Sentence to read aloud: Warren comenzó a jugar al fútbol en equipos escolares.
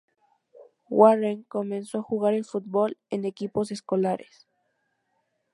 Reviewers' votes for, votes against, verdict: 0, 2, rejected